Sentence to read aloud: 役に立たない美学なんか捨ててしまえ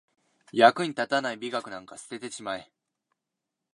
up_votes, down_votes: 2, 0